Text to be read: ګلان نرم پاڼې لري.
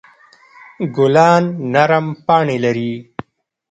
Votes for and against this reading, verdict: 0, 2, rejected